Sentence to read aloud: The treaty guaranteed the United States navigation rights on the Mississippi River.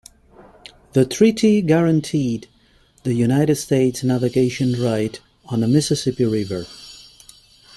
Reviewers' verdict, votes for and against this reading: rejected, 0, 2